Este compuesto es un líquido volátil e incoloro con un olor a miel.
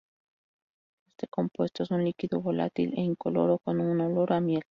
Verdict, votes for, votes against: rejected, 2, 2